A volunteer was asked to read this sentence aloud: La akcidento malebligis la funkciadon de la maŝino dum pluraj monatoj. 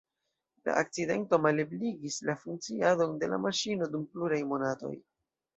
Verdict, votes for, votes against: accepted, 2, 0